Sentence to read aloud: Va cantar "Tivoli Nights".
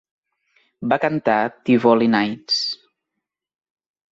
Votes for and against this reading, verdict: 2, 0, accepted